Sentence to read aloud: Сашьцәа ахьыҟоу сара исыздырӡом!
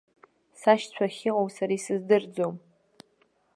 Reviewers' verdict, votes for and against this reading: accepted, 2, 0